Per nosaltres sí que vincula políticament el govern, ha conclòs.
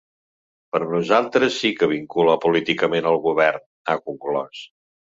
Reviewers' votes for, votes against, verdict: 2, 0, accepted